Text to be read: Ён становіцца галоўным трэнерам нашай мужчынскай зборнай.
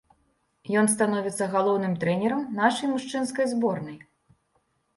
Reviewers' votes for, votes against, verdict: 2, 1, accepted